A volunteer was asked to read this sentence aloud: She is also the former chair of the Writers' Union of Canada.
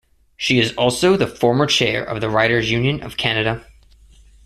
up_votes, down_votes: 2, 0